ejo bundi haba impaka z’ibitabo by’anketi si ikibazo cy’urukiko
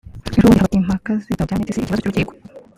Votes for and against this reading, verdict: 1, 2, rejected